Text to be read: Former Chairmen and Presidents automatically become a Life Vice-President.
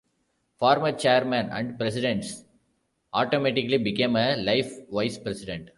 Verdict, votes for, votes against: accepted, 2, 0